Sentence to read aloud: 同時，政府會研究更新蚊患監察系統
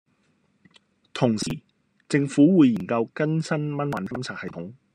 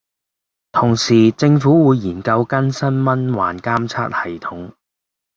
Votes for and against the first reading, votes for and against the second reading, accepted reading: 2, 0, 0, 2, first